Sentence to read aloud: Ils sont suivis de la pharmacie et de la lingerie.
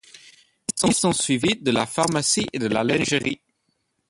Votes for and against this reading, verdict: 0, 2, rejected